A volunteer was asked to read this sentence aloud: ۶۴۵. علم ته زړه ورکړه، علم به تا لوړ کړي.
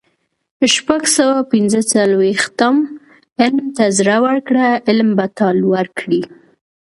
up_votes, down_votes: 0, 2